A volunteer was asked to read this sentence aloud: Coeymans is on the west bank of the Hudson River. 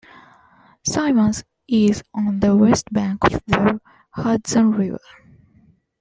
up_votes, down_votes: 2, 0